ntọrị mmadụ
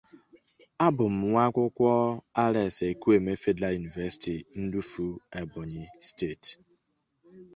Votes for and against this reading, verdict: 0, 2, rejected